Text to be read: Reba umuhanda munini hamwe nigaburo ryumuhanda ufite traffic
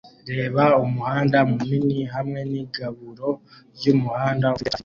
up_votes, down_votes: 0, 2